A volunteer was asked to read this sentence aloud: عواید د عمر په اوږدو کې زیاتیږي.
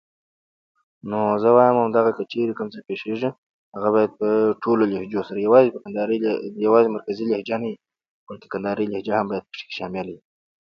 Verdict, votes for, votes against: rejected, 0, 2